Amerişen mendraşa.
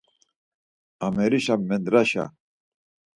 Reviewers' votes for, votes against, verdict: 4, 0, accepted